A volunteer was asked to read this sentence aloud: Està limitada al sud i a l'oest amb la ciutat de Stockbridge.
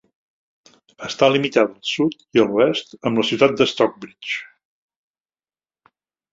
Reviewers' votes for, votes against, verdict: 2, 0, accepted